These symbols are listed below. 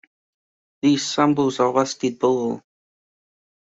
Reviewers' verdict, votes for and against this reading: accepted, 2, 0